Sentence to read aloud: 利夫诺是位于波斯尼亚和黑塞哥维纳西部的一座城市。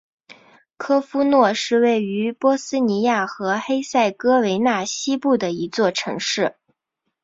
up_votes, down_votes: 3, 0